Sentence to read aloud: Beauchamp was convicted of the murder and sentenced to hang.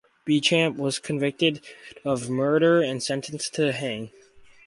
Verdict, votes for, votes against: accepted, 4, 2